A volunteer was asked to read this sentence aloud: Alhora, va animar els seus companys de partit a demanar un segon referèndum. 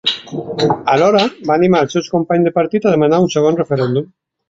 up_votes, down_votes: 2, 0